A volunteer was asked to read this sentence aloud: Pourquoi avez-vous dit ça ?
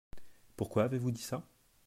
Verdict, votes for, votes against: accepted, 2, 0